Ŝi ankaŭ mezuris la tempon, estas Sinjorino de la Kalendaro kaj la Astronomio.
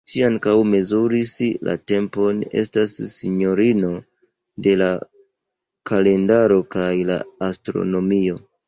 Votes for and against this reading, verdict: 2, 0, accepted